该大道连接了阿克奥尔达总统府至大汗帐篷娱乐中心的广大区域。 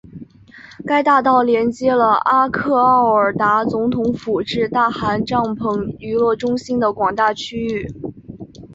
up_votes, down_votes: 4, 1